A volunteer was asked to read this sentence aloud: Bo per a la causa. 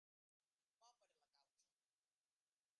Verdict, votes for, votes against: rejected, 0, 2